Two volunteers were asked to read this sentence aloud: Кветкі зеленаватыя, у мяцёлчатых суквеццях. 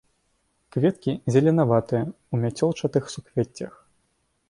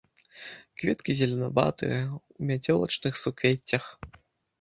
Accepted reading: first